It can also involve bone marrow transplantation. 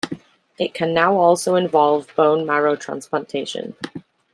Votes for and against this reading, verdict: 0, 2, rejected